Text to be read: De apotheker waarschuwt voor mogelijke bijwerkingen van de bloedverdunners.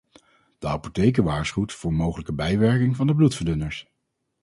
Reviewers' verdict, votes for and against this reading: rejected, 2, 2